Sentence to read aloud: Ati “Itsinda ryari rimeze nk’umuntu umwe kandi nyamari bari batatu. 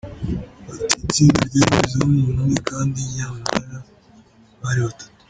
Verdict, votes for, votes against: rejected, 0, 2